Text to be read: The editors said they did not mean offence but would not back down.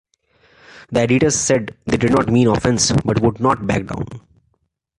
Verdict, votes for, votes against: accepted, 2, 1